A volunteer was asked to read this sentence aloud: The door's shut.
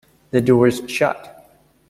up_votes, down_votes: 2, 0